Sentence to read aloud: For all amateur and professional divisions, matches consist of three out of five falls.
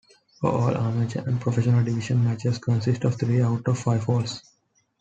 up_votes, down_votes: 1, 2